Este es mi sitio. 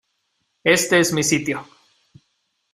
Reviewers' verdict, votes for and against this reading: accepted, 2, 0